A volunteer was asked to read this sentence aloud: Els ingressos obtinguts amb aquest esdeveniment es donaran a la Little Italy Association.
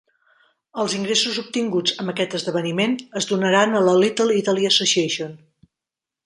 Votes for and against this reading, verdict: 3, 0, accepted